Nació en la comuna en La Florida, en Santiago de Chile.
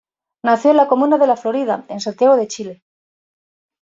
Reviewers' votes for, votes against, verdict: 0, 2, rejected